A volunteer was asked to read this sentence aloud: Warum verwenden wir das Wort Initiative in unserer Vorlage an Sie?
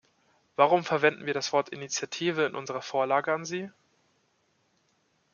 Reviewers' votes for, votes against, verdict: 2, 0, accepted